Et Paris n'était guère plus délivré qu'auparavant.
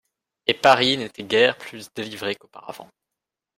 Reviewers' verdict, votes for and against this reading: accepted, 2, 1